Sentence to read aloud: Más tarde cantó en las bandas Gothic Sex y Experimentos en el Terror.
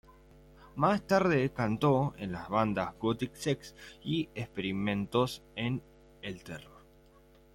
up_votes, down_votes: 2, 0